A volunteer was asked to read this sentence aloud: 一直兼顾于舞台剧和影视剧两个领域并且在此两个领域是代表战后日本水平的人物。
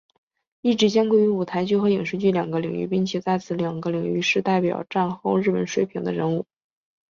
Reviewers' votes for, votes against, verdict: 2, 1, accepted